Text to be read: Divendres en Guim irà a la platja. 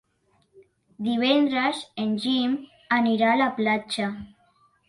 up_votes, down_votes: 0, 2